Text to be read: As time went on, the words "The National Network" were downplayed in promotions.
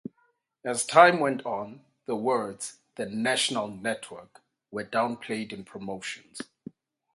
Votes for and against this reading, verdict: 8, 0, accepted